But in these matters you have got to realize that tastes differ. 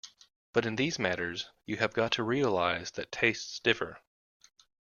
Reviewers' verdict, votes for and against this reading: accepted, 2, 0